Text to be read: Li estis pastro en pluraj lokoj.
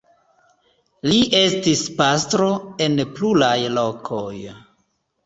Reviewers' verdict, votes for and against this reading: accepted, 2, 0